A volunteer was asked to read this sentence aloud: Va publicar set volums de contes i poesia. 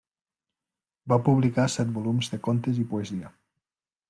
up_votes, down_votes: 3, 0